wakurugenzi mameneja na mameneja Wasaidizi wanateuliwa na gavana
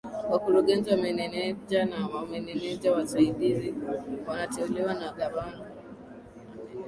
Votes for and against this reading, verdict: 1, 3, rejected